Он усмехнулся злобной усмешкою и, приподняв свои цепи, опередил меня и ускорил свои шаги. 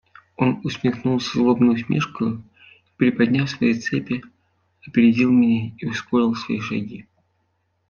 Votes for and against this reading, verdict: 2, 1, accepted